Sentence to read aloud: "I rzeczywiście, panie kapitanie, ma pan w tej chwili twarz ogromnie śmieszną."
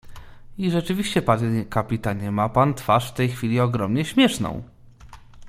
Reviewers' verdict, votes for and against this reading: rejected, 0, 2